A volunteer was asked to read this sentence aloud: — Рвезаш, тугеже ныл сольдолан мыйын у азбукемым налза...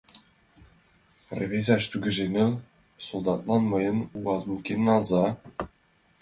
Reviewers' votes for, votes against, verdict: 0, 2, rejected